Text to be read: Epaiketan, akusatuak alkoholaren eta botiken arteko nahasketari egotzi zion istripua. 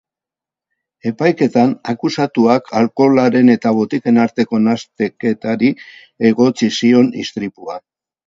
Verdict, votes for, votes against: rejected, 0, 4